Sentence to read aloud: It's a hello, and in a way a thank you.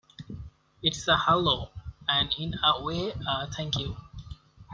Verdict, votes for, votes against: accepted, 2, 0